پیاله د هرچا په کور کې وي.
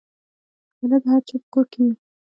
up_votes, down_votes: 1, 2